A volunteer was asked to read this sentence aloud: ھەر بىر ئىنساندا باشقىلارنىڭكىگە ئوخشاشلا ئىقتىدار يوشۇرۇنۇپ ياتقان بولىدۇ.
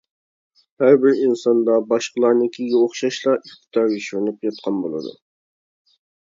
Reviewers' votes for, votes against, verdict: 1, 2, rejected